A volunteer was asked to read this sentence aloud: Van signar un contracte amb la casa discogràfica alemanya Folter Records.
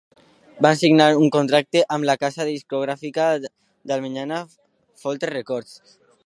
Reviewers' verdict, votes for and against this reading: rejected, 0, 2